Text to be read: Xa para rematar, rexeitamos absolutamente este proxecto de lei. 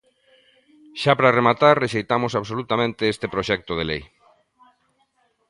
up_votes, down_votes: 2, 0